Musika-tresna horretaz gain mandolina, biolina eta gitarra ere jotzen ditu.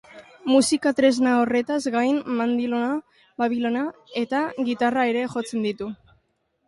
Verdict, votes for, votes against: rejected, 1, 2